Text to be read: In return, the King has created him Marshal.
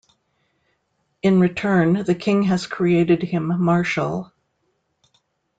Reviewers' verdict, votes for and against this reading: accepted, 2, 0